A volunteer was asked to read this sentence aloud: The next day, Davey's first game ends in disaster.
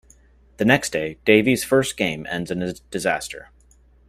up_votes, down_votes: 0, 2